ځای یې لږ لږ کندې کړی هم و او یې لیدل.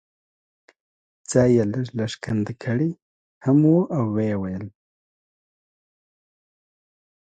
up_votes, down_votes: 2, 0